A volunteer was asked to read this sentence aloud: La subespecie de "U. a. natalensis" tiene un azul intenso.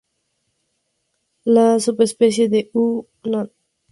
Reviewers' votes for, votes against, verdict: 0, 2, rejected